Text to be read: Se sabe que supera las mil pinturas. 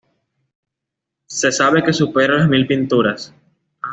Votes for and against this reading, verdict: 1, 2, rejected